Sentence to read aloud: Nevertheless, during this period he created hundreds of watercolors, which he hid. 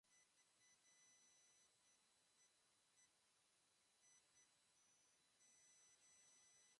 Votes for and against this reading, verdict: 0, 2, rejected